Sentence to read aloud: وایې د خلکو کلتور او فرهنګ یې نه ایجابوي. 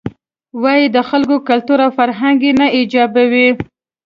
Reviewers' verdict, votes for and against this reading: accepted, 3, 0